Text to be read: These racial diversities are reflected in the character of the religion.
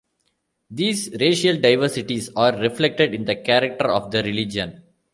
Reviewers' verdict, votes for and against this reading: accepted, 2, 0